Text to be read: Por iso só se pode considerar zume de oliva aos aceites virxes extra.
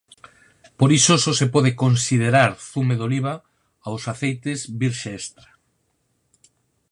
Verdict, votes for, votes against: rejected, 2, 4